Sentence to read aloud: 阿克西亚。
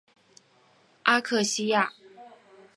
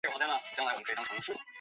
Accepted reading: first